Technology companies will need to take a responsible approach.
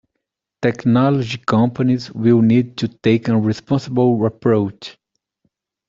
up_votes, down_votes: 2, 1